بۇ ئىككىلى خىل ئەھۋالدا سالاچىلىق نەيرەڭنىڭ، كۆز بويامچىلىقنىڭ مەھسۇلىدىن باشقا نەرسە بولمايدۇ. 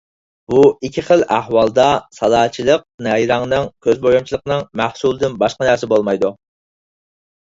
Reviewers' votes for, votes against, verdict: 4, 0, accepted